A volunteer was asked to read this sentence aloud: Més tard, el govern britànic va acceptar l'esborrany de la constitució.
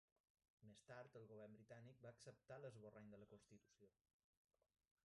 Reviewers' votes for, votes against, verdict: 0, 2, rejected